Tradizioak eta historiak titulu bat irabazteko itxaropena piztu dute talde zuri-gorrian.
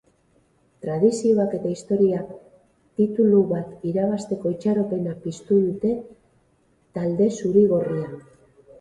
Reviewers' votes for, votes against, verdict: 6, 0, accepted